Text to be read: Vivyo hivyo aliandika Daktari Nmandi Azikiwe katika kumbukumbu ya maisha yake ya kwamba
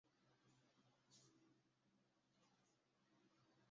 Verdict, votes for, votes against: rejected, 0, 2